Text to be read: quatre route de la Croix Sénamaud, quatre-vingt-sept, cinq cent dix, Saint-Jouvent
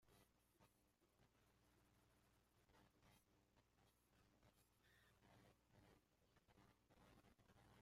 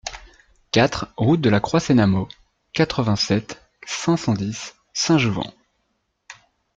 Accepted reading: second